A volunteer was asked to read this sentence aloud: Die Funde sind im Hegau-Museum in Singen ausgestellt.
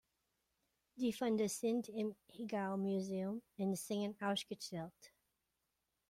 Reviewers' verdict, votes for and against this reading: rejected, 1, 2